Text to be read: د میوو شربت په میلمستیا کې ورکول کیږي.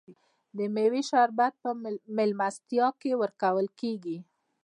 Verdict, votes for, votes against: rejected, 0, 2